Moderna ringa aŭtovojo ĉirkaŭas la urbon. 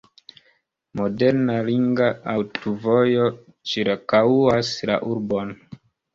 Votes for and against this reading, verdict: 2, 0, accepted